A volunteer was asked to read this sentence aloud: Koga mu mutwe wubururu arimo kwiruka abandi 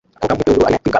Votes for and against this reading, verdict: 0, 2, rejected